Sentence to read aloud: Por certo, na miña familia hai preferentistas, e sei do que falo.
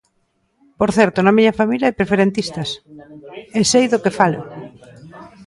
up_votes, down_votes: 2, 0